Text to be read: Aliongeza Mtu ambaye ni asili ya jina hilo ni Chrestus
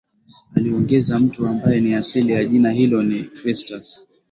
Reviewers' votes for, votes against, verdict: 3, 0, accepted